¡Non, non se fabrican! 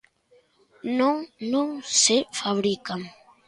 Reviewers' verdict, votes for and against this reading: accepted, 2, 0